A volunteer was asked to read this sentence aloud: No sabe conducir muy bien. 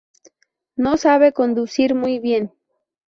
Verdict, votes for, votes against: accepted, 2, 0